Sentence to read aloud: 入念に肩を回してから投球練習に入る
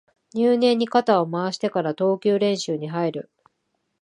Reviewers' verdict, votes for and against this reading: accepted, 2, 0